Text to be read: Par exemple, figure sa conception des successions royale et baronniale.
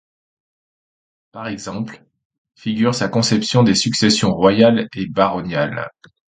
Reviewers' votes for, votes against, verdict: 2, 0, accepted